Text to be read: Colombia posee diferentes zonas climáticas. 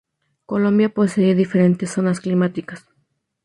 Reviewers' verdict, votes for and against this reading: rejected, 0, 2